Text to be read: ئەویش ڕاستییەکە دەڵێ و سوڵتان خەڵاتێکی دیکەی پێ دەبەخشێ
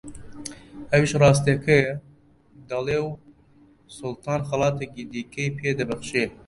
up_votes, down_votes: 0, 2